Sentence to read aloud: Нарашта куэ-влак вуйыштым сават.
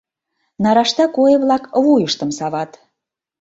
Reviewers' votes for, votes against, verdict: 2, 0, accepted